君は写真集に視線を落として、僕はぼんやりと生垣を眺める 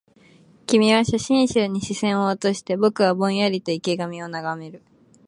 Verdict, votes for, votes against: accepted, 2, 1